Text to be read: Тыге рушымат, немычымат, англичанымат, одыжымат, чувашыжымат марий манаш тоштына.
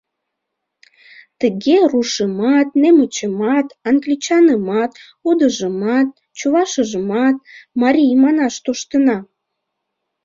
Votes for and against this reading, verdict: 2, 0, accepted